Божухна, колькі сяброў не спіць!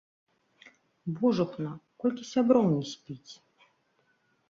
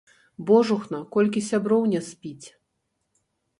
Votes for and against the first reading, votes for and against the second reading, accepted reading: 2, 0, 0, 2, first